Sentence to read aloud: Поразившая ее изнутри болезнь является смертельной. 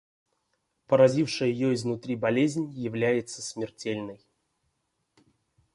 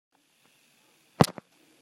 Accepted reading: first